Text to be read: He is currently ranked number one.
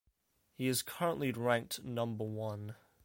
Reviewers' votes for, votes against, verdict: 2, 0, accepted